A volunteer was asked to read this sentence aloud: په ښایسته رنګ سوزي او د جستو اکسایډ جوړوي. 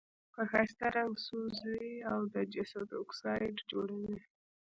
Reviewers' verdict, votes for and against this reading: rejected, 1, 2